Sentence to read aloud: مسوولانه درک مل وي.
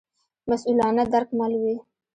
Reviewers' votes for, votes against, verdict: 2, 0, accepted